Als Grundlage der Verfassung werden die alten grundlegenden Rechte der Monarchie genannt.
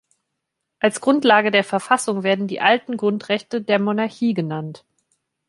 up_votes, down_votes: 0, 2